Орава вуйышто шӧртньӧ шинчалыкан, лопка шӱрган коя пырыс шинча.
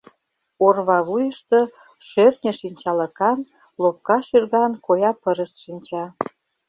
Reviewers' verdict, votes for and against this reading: rejected, 0, 2